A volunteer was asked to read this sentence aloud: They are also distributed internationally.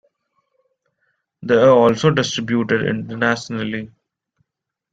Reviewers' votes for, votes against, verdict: 0, 2, rejected